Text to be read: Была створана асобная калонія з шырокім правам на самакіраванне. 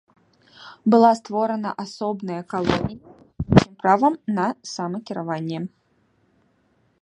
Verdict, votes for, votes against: rejected, 0, 2